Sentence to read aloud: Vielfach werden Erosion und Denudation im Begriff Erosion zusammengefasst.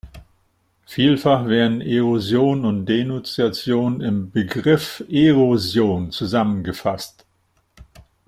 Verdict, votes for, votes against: rejected, 0, 2